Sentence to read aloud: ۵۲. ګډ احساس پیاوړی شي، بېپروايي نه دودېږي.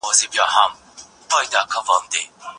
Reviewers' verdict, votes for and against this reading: rejected, 0, 2